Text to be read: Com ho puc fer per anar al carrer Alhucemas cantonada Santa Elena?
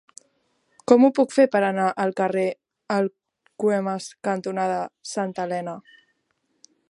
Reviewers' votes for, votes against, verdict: 0, 2, rejected